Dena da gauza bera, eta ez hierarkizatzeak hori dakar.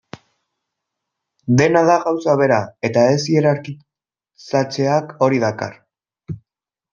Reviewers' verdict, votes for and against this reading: rejected, 0, 2